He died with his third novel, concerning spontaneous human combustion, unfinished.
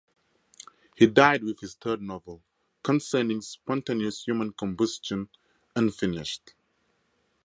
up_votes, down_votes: 4, 0